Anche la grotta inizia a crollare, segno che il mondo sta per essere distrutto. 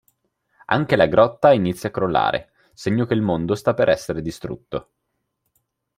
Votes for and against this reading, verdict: 2, 0, accepted